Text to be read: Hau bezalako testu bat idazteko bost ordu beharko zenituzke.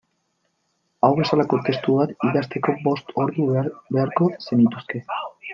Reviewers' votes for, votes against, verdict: 1, 2, rejected